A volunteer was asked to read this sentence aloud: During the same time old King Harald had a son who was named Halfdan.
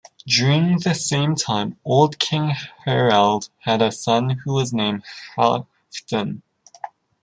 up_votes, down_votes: 0, 2